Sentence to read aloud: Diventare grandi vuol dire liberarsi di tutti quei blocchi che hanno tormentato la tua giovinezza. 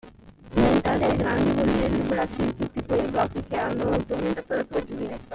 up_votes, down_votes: 1, 2